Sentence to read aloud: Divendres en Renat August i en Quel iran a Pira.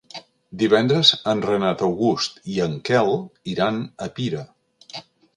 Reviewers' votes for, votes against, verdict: 4, 0, accepted